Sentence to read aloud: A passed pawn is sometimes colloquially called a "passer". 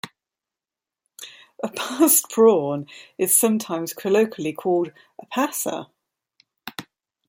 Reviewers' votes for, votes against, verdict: 1, 2, rejected